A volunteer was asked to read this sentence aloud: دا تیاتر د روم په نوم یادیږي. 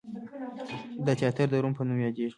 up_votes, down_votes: 1, 2